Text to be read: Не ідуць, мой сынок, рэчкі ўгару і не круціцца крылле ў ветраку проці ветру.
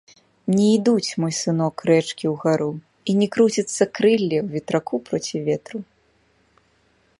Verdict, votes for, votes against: accepted, 2, 0